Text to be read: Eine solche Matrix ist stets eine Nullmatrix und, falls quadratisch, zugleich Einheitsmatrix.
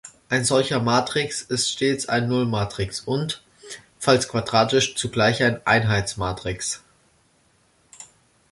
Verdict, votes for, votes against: rejected, 0, 2